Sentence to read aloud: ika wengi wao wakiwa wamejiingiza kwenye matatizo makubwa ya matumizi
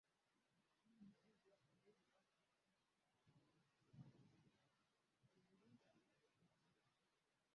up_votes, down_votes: 0, 2